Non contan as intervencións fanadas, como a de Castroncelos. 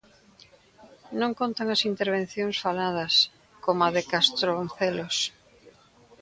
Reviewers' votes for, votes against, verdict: 0, 2, rejected